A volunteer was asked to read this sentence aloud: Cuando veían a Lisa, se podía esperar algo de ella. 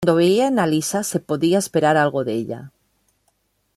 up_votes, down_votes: 1, 2